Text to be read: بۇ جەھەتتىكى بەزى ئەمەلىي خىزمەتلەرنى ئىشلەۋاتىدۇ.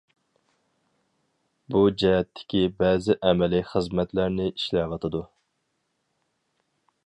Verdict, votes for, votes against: accepted, 4, 0